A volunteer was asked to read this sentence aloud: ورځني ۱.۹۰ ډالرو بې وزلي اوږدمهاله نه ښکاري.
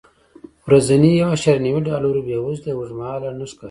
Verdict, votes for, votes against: rejected, 0, 2